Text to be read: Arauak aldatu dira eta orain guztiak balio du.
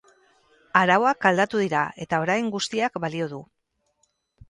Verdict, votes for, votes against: rejected, 0, 2